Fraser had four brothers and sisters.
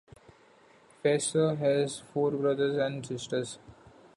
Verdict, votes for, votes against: rejected, 1, 2